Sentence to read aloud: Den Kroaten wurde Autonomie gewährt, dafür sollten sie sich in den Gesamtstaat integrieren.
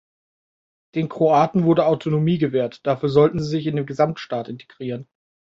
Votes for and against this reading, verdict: 2, 0, accepted